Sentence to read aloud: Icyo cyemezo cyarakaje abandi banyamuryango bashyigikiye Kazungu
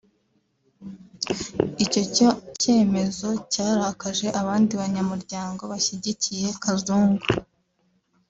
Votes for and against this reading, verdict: 1, 2, rejected